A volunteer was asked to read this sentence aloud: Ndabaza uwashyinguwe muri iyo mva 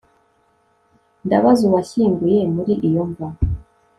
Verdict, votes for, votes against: accepted, 2, 1